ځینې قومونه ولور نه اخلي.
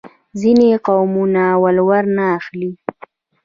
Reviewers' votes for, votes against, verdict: 1, 2, rejected